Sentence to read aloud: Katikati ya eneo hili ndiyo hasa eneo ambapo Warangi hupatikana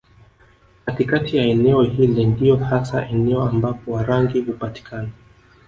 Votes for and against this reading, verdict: 2, 0, accepted